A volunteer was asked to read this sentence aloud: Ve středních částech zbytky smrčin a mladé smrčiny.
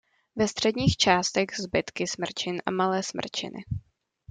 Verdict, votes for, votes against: rejected, 1, 2